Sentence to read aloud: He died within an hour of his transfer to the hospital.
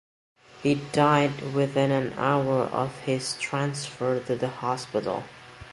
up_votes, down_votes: 2, 0